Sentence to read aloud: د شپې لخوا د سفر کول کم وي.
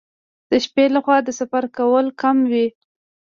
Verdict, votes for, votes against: rejected, 1, 2